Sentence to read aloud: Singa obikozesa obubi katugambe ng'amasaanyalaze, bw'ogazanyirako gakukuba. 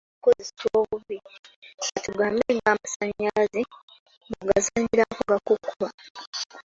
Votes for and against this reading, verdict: 0, 2, rejected